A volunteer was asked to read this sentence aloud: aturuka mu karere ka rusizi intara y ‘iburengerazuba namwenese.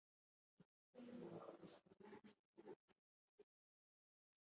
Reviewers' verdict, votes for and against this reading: rejected, 0, 2